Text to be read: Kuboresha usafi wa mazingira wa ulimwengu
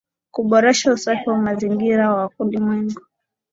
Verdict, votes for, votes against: accepted, 14, 2